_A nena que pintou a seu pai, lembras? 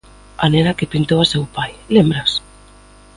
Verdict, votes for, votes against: accepted, 2, 0